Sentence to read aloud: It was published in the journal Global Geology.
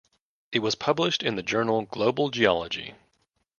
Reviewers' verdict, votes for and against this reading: accepted, 2, 0